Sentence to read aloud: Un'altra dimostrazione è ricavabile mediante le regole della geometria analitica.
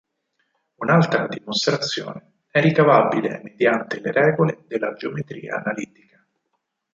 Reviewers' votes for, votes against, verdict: 4, 0, accepted